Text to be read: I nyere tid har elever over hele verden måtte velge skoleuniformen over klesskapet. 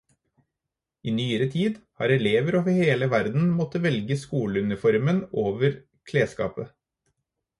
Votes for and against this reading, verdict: 4, 0, accepted